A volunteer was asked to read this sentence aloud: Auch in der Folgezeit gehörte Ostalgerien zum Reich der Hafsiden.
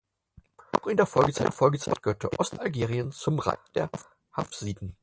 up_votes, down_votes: 0, 4